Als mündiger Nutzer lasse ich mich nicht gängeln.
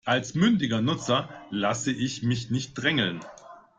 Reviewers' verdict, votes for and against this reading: rejected, 0, 2